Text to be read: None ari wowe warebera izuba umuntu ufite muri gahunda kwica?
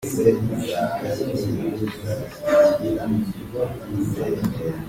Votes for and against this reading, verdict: 0, 2, rejected